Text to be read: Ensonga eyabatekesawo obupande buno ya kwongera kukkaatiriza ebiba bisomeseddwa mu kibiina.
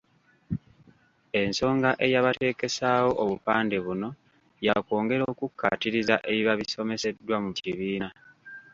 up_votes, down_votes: 0, 2